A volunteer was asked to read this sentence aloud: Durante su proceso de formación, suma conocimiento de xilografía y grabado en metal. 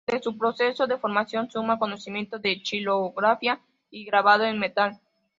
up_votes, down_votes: 2, 1